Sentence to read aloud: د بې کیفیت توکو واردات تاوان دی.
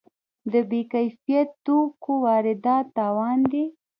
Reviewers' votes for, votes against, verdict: 1, 2, rejected